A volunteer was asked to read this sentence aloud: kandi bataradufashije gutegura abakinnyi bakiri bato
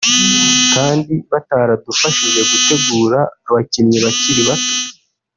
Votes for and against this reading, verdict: 2, 3, rejected